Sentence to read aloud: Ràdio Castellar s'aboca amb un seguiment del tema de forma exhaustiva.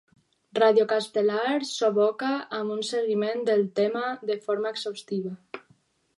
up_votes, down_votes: 4, 0